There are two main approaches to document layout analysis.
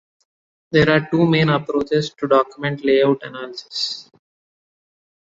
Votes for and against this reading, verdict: 2, 1, accepted